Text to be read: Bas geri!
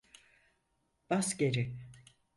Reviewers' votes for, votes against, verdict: 4, 0, accepted